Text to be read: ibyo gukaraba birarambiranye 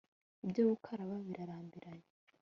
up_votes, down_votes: 2, 0